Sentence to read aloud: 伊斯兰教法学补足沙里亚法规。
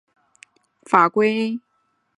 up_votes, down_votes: 1, 4